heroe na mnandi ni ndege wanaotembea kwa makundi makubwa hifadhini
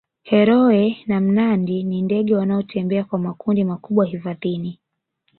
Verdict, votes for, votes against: accepted, 2, 0